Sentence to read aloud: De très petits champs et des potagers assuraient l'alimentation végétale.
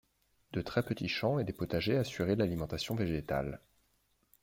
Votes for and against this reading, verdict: 2, 0, accepted